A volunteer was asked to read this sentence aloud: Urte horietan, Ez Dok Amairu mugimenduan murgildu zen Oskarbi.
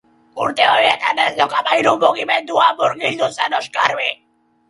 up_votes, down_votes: 0, 2